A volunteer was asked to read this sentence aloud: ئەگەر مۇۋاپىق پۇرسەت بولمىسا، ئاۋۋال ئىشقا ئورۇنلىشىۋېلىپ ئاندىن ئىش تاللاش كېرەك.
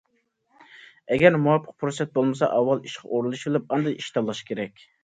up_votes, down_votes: 2, 0